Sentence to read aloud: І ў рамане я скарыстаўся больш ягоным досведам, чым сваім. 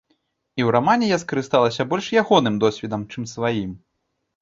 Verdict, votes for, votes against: rejected, 0, 2